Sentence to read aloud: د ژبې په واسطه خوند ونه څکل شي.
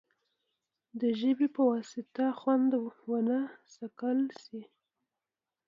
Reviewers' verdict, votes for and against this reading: accepted, 2, 0